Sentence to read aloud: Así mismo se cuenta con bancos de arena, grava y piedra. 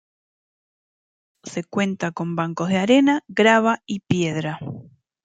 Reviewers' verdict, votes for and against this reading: rejected, 0, 2